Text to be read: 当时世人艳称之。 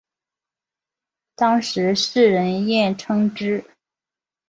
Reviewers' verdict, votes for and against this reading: accepted, 2, 0